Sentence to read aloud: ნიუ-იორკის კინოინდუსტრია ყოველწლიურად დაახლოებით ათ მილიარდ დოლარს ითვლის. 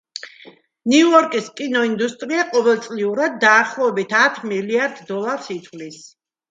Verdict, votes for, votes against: accepted, 2, 0